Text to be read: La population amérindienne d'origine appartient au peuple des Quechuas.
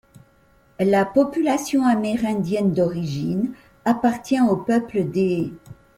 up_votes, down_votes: 0, 2